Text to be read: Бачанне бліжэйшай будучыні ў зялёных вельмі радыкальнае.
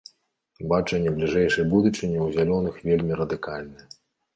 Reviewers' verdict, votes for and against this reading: accepted, 2, 0